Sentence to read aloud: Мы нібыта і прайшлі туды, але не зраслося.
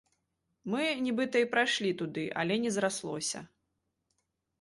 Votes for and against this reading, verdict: 2, 1, accepted